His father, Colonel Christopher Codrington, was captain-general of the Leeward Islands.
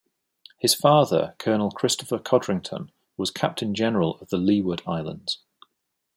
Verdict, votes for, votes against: accepted, 2, 0